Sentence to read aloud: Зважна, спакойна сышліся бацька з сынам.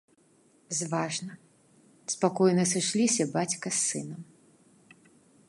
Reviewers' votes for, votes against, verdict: 2, 0, accepted